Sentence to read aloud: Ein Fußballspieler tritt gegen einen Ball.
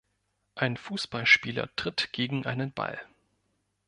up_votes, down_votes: 2, 0